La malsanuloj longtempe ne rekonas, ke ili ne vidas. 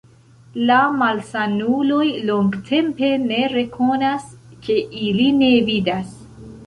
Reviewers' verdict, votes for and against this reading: accepted, 2, 0